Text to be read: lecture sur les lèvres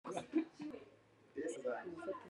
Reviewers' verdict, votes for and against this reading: rejected, 0, 2